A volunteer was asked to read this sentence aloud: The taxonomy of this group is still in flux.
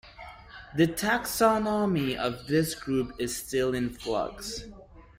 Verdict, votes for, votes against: rejected, 0, 2